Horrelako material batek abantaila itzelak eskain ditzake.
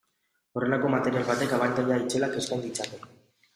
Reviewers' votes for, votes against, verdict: 2, 0, accepted